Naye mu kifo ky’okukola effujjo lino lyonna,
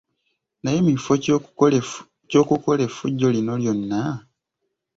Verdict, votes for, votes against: rejected, 1, 2